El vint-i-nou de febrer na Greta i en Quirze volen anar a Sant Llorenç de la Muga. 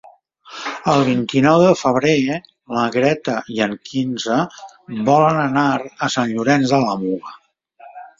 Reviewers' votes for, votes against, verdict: 0, 3, rejected